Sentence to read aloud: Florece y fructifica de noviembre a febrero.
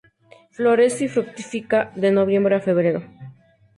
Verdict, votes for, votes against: accepted, 4, 0